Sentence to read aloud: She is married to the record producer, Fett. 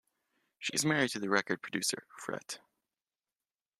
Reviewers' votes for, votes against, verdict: 0, 2, rejected